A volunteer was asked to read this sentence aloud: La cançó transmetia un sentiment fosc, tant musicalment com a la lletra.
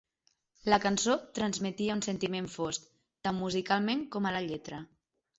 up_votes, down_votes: 3, 0